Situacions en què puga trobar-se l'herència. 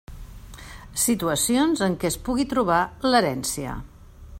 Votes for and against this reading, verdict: 0, 2, rejected